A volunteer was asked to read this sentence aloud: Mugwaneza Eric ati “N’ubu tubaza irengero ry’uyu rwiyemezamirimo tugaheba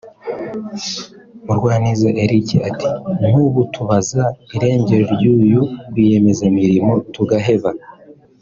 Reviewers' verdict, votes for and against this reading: accepted, 2, 0